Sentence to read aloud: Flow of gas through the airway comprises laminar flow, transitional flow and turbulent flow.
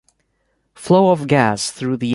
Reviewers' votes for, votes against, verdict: 0, 2, rejected